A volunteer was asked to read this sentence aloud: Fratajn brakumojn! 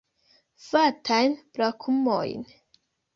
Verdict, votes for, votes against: rejected, 1, 3